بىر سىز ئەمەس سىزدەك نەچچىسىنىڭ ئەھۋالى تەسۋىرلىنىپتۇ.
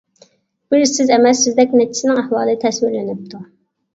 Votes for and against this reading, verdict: 1, 2, rejected